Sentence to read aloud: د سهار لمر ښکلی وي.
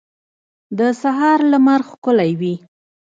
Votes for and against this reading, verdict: 0, 2, rejected